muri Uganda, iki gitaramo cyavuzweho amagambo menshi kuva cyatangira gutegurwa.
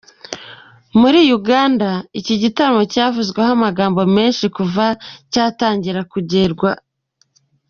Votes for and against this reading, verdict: 0, 2, rejected